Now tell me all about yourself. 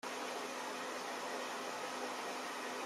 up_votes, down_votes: 0, 2